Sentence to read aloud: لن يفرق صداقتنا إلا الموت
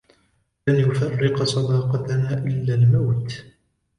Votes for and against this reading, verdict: 2, 1, accepted